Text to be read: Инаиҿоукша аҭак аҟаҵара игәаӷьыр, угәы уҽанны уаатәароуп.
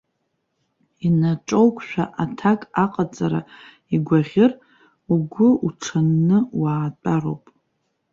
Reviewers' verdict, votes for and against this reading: accepted, 2, 1